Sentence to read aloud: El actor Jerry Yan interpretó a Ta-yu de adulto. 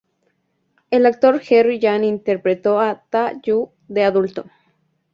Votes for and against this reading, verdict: 2, 0, accepted